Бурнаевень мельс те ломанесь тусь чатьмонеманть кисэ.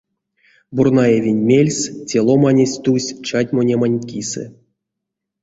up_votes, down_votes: 2, 0